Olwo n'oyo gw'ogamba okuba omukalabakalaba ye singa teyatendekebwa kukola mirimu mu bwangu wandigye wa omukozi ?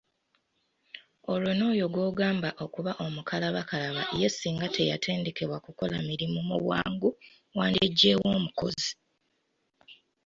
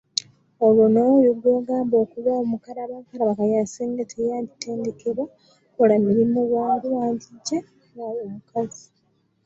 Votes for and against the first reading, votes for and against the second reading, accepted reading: 2, 0, 0, 2, first